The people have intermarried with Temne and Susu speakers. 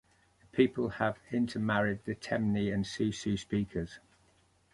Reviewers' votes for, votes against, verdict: 0, 2, rejected